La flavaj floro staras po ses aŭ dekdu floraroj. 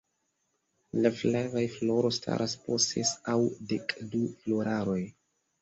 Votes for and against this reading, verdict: 3, 0, accepted